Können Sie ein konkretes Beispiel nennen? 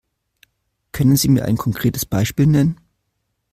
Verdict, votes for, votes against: rejected, 1, 2